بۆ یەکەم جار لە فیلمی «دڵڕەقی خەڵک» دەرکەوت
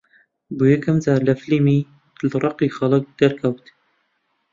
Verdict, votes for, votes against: accepted, 2, 0